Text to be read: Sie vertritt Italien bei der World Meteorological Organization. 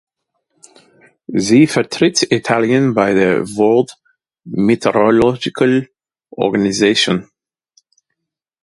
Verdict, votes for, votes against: accepted, 2, 0